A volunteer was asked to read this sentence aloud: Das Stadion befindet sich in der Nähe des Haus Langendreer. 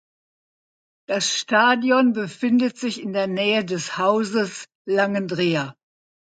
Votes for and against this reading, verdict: 0, 2, rejected